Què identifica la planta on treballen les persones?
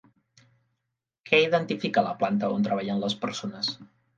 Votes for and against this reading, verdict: 3, 0, accepted